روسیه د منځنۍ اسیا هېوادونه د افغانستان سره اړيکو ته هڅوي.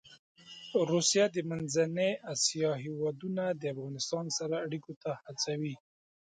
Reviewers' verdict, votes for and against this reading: accepted, 2, 0